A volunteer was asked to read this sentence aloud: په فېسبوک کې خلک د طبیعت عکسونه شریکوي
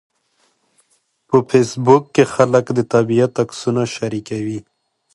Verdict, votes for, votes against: accepted, 2, 0